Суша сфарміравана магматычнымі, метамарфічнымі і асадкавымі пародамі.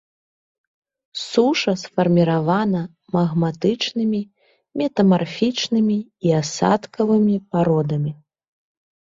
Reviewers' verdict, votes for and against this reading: accepted, 2, 0